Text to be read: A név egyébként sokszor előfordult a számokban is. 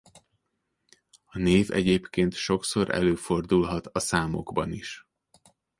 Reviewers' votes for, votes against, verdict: 0, 2, rejected